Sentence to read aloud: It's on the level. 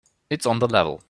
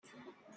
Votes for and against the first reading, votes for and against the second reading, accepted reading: 3, 0, 0, 2, first